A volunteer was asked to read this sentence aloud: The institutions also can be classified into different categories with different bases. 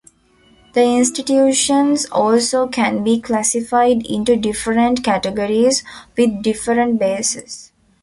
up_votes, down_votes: 2, 0